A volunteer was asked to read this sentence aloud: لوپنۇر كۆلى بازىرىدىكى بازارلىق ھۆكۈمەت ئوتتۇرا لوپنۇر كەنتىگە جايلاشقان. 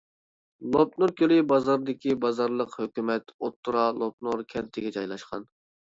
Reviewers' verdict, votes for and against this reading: rejected, 0, 2